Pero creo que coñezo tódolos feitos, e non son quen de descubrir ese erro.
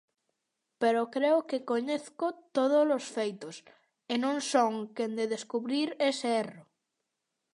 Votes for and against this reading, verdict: 0, 2, rejected